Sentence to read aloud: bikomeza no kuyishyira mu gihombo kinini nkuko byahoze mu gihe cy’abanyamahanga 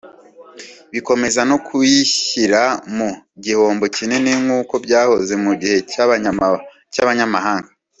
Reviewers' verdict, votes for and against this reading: rejected, 1, 2